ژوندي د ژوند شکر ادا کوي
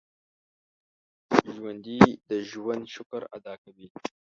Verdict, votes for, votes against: rejected, 0, 2